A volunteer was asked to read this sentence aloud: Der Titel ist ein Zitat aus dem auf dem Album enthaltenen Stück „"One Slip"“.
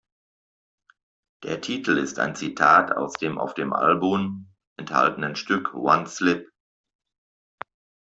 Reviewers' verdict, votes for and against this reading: rejected, 0, 2